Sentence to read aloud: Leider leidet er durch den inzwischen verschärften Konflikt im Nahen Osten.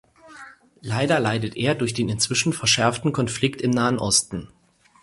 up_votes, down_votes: 4, 0